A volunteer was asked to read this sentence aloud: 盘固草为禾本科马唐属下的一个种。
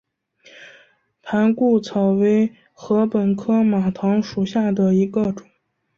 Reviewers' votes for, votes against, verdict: 5, 1, accepted